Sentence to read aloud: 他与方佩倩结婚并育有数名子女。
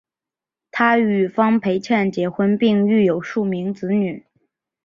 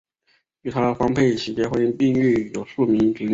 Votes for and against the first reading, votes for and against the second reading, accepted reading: 2, 0, 2, 5, first